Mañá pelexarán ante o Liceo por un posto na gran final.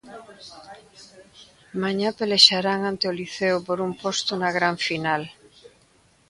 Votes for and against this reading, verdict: 2, 0, accepted